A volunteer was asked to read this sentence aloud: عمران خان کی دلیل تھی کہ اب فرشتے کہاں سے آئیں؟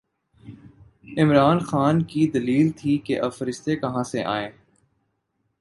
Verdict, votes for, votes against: accepted, 2, 0